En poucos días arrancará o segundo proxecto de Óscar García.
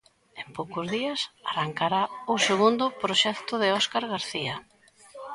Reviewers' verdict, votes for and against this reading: accepted, 2, 0